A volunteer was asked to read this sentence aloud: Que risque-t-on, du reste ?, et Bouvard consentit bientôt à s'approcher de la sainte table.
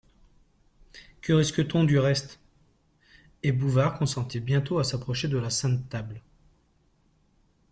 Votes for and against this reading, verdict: 2, 0, accepted